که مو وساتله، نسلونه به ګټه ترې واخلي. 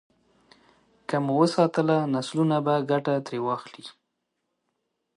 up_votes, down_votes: 2, 0